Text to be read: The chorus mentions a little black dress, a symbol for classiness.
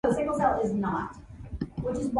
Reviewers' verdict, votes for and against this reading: rejected, 0, 3